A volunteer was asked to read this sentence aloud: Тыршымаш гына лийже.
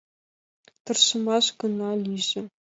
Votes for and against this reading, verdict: 2, 0, accepted